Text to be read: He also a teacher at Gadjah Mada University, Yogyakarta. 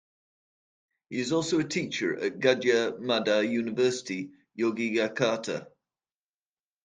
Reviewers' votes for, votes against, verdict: 1, 2, rejected